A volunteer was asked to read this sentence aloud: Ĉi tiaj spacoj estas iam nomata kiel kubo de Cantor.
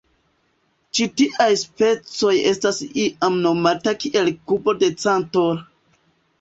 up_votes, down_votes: 2, 1